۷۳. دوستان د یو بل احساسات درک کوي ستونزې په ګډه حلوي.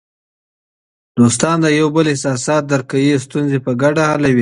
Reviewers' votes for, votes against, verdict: 0, 2, rejected